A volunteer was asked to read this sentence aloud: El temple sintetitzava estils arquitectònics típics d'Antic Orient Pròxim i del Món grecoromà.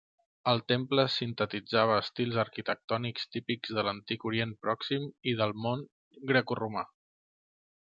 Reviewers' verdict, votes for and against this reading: rejected, 1, 3